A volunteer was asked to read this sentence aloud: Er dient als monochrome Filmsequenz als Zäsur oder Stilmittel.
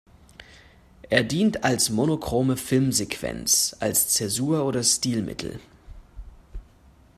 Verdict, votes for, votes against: accepted, 2, 0